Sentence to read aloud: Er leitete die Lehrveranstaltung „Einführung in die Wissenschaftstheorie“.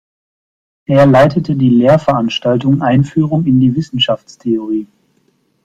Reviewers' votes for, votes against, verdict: 2, 0, accepted